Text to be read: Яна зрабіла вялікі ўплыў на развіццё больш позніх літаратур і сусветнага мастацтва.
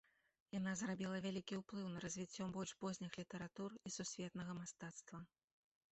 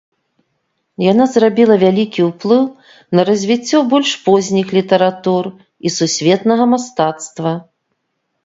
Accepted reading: second